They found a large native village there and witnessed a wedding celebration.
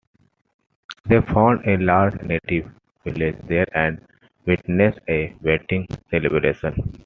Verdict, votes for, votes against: accepted, 2, 1